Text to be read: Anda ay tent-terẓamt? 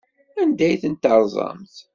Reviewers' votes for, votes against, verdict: 2, 0, accepted